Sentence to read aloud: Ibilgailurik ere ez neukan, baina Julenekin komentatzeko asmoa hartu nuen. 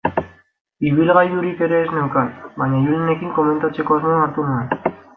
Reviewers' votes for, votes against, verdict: 2, 0, accepted